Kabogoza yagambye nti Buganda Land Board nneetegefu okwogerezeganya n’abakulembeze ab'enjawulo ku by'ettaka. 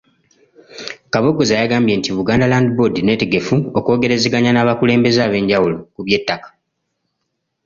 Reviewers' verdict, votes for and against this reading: accepted, 2, 1